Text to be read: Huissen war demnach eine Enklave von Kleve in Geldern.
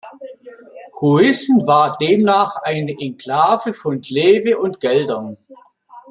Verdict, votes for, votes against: rejected, 1, 2